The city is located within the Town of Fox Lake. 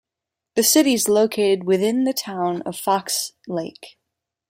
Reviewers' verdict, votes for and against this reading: rejected, 1, 2